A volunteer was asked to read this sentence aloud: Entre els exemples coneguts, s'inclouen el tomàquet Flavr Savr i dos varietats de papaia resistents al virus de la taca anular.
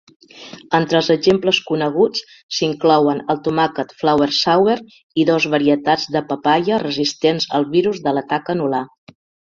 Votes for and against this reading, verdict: 2, 0, accepted